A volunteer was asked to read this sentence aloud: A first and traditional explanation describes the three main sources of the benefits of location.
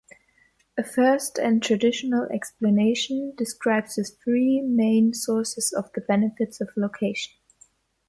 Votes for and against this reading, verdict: 2, 0, accepted